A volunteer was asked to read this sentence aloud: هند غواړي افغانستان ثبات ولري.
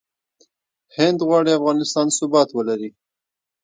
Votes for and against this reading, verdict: 2, 0, accepted